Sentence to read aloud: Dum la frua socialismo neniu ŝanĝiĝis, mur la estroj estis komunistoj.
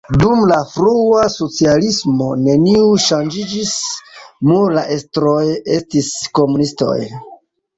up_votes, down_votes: 2, 0